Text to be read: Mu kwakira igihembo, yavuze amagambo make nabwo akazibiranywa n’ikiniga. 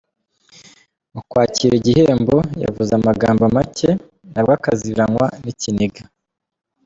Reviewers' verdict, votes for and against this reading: rejected, 0, 2